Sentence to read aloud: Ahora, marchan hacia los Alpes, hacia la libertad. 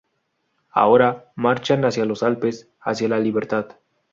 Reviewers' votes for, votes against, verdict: 2, 0, accepted